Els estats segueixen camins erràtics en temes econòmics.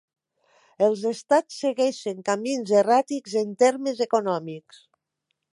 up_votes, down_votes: 0, 2